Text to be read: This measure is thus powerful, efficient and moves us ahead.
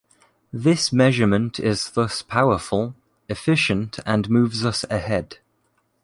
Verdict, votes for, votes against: accepted, 2, 0